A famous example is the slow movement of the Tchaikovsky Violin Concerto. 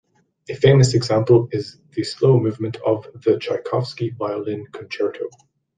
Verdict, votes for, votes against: rejected, 0, 2